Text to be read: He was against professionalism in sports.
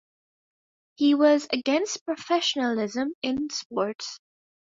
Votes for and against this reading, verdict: 2, 0, accepted